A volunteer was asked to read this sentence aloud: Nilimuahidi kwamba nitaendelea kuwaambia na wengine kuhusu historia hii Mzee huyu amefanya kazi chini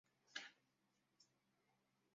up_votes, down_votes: 0, 2